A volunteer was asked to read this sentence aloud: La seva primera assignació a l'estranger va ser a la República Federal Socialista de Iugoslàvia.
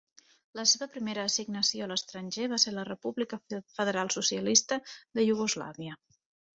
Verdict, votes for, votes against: rejected, 1, 2